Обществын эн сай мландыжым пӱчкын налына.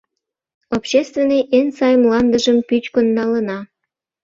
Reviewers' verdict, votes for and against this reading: rejected, 0, 2